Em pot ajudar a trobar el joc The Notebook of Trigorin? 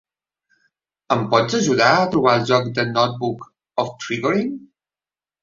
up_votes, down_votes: 2, 0